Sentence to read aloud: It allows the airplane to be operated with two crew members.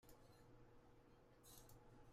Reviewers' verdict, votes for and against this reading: rejected, 0, 2